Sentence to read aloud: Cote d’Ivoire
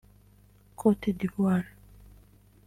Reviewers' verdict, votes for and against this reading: accepted, 2, 1